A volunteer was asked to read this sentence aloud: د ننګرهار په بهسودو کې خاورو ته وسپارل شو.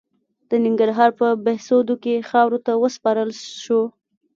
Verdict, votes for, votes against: rejected, 1, 2